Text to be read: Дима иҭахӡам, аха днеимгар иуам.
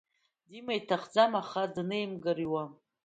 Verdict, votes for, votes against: accepted, 2, 0